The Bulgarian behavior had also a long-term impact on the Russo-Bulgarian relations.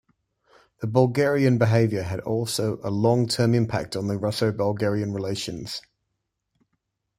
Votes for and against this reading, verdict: 0, 2, rejected